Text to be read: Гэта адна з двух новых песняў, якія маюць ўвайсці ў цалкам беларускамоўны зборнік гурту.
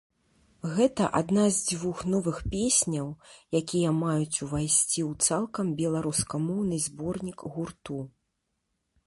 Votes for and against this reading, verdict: 1, 2, rejected